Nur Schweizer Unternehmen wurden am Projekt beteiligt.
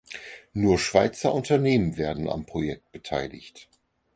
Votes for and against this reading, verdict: 0, 4, rejected